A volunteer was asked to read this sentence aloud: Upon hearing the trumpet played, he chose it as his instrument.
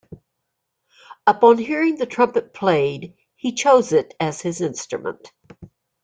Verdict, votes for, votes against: accepted, 2, 0